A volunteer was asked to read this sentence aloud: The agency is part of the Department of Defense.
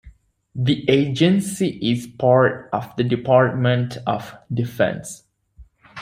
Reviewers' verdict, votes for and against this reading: accepted, 2, 0